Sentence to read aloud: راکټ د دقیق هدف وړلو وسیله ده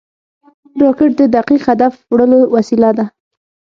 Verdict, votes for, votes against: rejected, 0, 6